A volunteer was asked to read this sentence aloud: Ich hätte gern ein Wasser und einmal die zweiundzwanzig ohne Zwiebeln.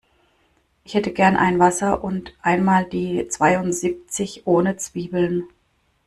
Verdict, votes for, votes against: rejected, 0, 2